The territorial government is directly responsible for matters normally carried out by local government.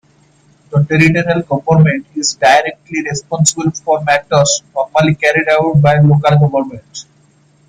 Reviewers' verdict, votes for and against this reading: accepted, 2, 0